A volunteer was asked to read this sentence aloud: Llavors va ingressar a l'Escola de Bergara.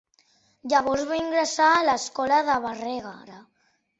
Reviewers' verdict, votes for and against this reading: rejected, 0, 2